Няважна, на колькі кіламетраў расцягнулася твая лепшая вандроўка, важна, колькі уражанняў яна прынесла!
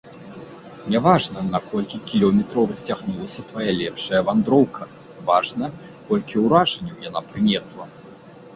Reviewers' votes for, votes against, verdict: 1, 2, rejected